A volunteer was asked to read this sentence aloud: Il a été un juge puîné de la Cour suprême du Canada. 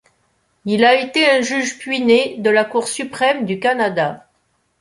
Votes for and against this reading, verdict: 2, 0, accepted